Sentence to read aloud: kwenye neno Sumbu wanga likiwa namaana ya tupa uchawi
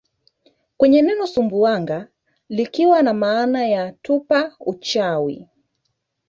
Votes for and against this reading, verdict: 0, 2, rejected